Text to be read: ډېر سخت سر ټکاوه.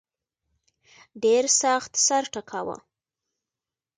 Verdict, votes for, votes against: accepted, 2, 0